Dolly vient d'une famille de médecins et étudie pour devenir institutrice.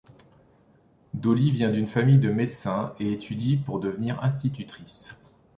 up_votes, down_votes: 2, 0